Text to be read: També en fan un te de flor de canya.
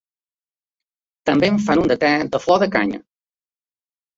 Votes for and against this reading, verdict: 0, 2, rejected